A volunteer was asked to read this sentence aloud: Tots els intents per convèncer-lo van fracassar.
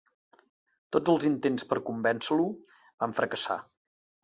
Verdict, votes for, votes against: accepted, 2, 1